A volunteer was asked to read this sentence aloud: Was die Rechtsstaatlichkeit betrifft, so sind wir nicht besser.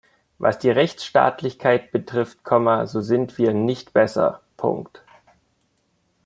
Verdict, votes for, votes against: rejected, 0, 2